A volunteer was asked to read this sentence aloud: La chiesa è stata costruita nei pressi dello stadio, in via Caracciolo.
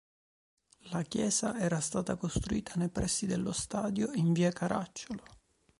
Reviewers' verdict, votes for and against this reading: rejected, 0, 2